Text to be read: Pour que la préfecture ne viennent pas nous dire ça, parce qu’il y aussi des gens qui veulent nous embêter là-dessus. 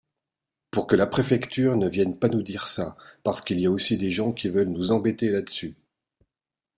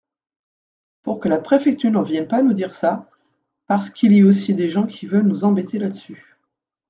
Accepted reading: first